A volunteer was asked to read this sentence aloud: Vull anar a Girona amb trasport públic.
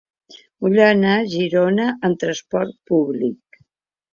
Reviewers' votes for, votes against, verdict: 2, 0, accepted